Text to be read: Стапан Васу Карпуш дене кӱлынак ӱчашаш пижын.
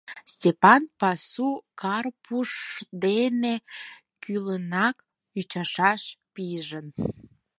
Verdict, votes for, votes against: rejected, 2, 4